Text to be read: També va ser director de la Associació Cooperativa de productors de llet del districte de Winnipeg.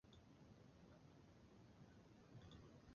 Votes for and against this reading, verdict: 0, 2, rejected